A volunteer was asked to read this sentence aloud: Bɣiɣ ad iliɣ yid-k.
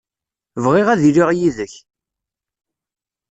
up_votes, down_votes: 2, 0